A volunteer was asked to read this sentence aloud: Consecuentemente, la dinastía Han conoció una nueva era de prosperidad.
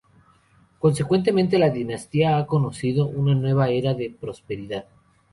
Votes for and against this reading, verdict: 0, 2, rejected